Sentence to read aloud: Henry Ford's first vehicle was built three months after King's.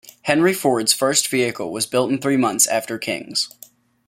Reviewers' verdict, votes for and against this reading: rejected, 1, 2